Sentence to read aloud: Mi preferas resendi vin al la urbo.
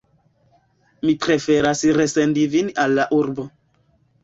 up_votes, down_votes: 1, 2